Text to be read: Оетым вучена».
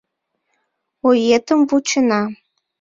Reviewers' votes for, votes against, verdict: 2, 0, accepted